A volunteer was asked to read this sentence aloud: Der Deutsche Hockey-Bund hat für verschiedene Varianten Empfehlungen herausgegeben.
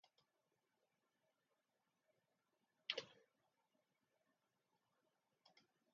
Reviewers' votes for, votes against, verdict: 0, 2, rejected